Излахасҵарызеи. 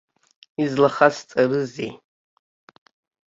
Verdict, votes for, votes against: accepted, 2, 0